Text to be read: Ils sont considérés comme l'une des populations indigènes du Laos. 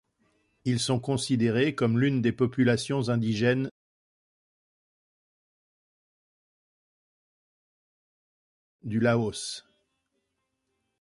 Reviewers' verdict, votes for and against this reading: rejected, 0, 2